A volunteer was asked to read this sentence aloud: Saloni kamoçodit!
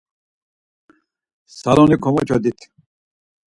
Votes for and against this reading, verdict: 0, 4, rejected